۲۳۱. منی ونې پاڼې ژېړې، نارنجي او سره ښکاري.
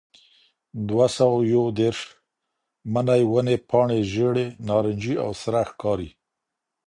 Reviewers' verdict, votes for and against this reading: rejected, 0, 2